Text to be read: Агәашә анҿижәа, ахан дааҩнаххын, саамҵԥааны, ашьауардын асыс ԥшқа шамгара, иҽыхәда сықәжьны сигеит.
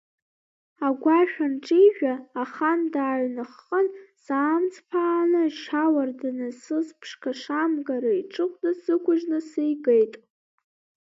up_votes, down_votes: 2, 0